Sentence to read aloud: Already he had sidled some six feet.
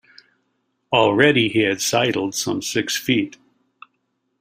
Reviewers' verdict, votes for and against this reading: accepted, 2, 0